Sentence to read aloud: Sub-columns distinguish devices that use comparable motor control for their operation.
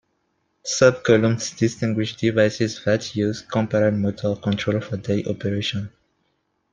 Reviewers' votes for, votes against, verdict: 1, 2, rejected